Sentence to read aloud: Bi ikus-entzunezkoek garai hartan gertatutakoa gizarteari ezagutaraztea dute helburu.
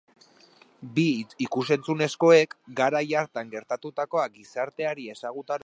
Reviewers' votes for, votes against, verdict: 0, 2, rejected